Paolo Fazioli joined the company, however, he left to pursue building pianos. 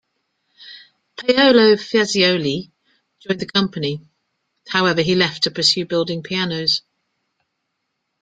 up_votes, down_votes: 0, 2